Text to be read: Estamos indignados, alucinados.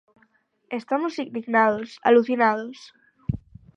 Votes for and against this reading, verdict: 6, 0, accepted